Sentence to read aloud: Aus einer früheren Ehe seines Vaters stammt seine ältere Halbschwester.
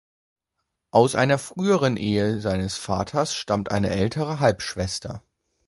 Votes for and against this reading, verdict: 1, 2, rejected